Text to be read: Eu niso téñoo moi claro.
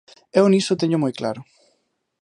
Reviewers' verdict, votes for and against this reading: accepted, 3, 0